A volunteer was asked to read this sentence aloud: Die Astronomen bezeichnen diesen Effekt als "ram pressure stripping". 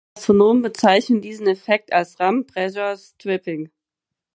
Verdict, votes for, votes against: rejected, 0, 4